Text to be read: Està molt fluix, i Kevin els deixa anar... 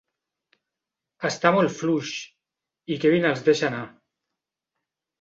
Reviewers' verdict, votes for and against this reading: accepted, 2, 0